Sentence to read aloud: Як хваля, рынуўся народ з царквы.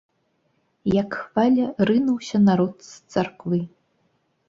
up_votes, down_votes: 2, 0